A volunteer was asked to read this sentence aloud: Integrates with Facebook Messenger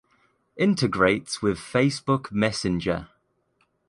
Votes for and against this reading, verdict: 2, 1, accepted